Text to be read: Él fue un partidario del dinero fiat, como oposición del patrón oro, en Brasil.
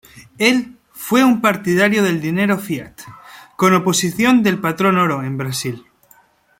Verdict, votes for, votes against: rejected, 1, 2